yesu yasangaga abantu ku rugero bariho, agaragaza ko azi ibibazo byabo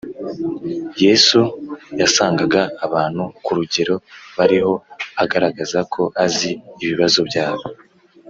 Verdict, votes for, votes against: accepted, 4, 0